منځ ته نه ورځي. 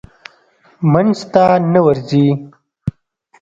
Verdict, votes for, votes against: accepted, 2, 0